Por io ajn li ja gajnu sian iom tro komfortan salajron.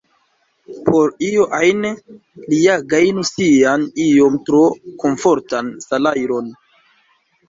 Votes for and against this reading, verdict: 2, 0, accepted